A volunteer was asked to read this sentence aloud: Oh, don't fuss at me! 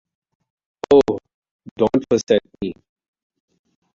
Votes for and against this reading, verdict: 2, 0, accepted